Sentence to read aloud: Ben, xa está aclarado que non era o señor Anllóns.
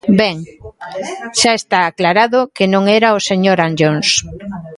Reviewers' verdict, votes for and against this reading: rejected, 0, 2